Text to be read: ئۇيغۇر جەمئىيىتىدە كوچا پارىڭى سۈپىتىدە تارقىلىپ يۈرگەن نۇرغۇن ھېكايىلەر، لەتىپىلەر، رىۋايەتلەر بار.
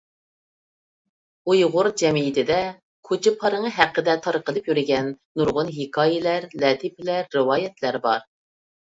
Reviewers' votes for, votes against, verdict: 2, 1, accepted